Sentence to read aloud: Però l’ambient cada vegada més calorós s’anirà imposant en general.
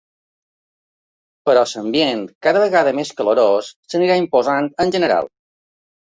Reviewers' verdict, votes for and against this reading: rejected, 0, 2